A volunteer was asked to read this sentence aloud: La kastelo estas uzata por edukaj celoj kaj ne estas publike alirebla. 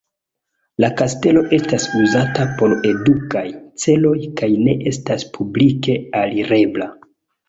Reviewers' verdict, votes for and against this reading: accepted, 2, 1